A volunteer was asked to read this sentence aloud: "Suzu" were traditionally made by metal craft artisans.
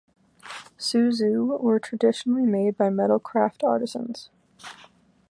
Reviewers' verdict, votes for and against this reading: accepted, 2, 0